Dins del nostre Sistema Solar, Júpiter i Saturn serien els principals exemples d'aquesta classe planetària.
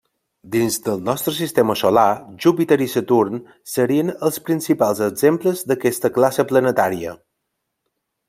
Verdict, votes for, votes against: accepted, 3, 0